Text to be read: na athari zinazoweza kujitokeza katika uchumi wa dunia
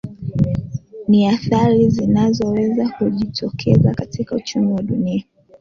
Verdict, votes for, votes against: accepted, 2, 0